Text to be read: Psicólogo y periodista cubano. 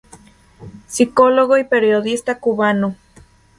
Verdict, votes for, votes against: accepted, 3, 0